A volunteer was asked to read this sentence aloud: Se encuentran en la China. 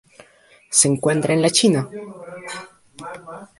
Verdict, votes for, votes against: rejected, 0, 2